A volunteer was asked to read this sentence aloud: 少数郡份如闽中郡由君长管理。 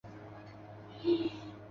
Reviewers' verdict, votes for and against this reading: rejected, 0, 2